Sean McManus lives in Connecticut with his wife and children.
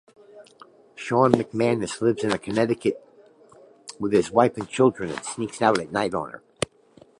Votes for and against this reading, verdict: 0, 2, rejected